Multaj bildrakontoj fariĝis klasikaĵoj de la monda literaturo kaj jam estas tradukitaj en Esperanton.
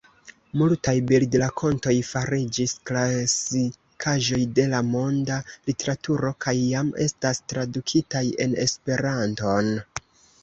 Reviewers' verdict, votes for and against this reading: accepted, 2, 1